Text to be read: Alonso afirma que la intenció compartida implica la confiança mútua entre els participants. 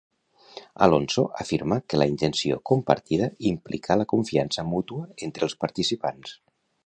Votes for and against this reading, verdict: 2, 0, accepted